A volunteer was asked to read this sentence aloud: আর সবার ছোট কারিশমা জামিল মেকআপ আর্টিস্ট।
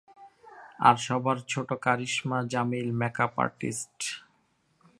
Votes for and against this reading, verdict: 3, 1, accepted